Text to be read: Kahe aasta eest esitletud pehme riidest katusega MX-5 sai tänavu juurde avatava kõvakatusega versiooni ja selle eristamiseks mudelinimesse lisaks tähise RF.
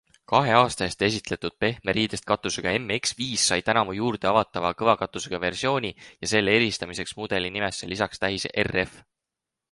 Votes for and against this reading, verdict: 0, 2, rejected